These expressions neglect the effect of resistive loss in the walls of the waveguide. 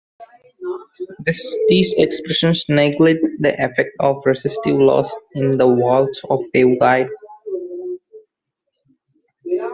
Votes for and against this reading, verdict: 0, 2, rejected